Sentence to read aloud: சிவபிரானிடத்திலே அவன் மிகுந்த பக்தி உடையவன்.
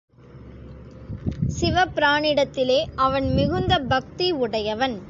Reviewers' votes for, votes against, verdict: 2, 0, accepted